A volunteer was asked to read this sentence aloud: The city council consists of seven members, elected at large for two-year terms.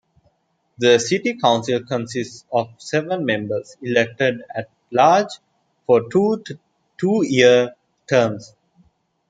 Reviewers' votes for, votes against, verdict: 0, 2, rejected